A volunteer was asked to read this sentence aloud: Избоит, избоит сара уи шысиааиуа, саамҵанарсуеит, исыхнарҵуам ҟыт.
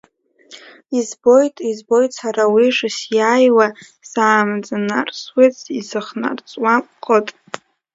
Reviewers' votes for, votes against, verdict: 0, 2, rejected